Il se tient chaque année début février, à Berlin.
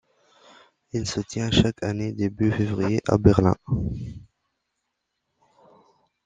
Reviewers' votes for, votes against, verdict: 2, 0, accepted